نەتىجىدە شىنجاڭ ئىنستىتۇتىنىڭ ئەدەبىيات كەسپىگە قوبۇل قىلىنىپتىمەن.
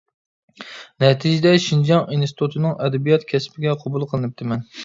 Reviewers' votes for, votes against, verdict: 2, 0, accepted